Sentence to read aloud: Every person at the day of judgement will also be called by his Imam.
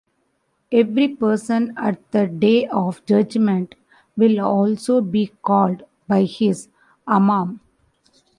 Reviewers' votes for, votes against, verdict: 0, 2, rejected